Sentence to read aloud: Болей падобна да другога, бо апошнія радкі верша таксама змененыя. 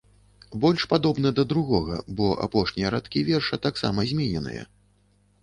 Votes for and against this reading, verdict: 1, 2, rejected